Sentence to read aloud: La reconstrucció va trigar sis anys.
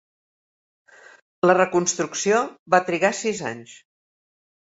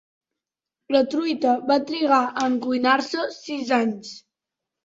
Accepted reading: first